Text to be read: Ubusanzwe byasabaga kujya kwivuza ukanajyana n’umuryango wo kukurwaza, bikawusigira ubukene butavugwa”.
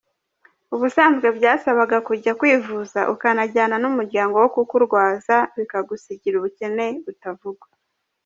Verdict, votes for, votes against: accepted, 3, 0